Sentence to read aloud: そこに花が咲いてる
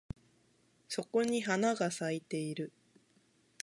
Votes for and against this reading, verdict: 4, 0, accepted